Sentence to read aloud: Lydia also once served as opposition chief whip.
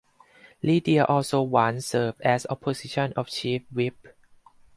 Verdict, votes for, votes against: rejected, 0, 4